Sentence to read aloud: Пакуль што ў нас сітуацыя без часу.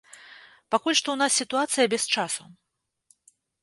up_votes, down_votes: 2, 0